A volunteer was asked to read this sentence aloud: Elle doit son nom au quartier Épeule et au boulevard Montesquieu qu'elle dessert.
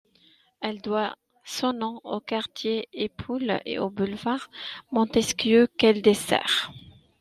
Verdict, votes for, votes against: rejected, 1, 2